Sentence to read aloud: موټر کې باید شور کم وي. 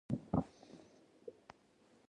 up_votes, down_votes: 1, 2